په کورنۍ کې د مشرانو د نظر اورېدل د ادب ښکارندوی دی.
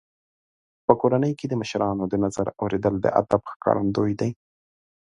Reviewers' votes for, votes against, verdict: 2, 0, accepted